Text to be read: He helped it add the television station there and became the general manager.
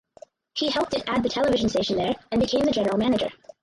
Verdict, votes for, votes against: rejected, 2, 2